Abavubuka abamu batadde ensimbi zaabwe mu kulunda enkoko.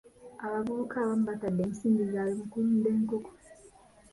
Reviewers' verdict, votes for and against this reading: accepted, 2, 0